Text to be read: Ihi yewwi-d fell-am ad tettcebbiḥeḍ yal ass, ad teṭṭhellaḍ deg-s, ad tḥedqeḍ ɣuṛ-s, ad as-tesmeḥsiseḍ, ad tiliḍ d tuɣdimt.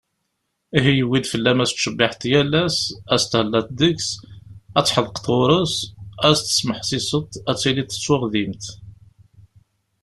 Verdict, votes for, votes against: accepted, 2, 0